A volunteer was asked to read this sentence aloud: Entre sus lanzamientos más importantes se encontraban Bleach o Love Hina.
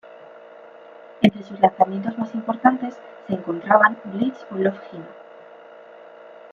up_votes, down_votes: 2, 0